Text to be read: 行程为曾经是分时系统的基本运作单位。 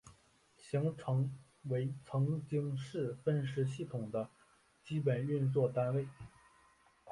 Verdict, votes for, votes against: accepted, 2, 0